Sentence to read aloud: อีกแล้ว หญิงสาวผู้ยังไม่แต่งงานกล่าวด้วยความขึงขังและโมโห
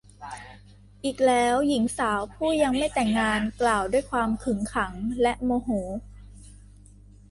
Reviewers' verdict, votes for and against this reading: rejected, 1, 2